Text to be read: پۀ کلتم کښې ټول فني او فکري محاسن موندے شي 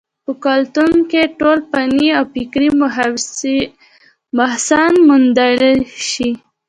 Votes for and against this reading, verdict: 0, 2, rejected